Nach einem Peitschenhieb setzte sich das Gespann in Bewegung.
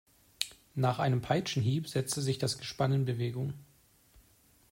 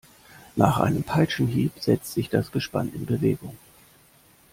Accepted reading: first